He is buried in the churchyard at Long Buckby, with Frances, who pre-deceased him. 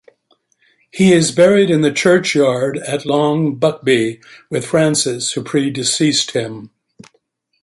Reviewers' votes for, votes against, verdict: 2, 0, accepted